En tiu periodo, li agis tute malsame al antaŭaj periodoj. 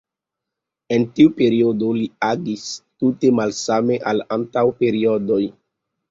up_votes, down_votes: 2, 0